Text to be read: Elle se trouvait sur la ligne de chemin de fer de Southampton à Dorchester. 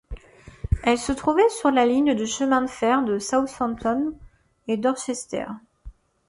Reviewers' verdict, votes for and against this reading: rejected, 0, 2